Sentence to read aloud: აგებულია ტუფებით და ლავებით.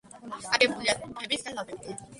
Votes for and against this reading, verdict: 0, 2, rejected